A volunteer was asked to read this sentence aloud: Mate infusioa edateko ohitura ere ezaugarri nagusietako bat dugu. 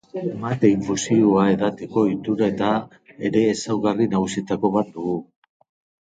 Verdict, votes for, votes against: rejected, 1, 2